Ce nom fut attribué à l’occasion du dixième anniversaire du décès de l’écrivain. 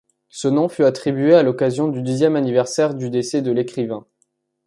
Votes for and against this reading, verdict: 2, 0, accepted